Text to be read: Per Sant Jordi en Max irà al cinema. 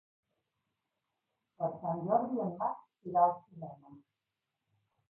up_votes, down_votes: 1, 2